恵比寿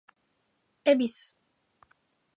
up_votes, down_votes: 2, 0